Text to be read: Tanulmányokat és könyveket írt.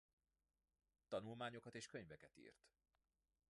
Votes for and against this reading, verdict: 0, 2, rejected